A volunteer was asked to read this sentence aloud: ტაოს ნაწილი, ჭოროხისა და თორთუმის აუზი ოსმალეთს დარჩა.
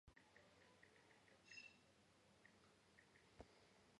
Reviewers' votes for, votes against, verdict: 0, 2, rejected